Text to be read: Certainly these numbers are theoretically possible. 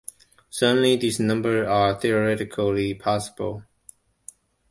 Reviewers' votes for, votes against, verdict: 2, 1, accepted